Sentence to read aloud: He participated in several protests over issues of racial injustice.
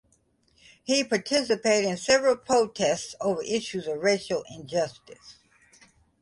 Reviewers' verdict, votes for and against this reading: accepted, 2, 1